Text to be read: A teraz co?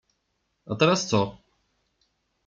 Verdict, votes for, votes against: rejected, 0, 2